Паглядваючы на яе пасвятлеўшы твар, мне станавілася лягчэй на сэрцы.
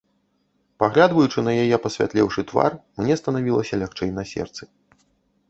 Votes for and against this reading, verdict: 1, 2, rejected